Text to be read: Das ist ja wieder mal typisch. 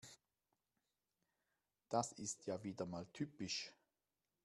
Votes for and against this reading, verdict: 2, 0, accepted